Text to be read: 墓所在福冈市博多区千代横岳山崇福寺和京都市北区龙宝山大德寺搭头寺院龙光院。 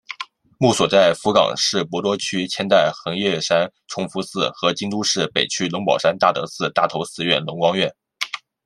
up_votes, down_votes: 2, 0